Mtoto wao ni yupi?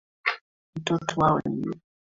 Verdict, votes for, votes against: rejected, 1, 2